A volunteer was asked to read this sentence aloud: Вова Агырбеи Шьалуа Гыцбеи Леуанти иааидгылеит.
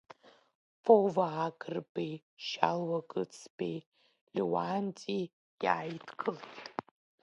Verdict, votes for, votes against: rejected, 1, 2